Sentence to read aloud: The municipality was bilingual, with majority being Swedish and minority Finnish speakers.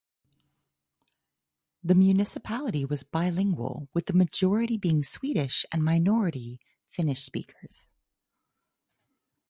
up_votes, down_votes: 4, 0